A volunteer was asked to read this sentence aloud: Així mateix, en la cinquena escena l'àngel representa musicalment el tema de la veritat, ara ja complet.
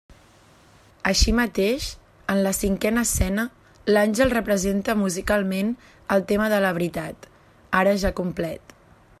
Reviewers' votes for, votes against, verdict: 3, 0, accepted